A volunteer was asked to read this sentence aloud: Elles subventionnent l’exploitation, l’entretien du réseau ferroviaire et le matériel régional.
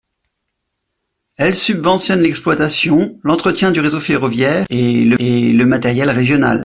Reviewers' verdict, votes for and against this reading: rejected, 0, 2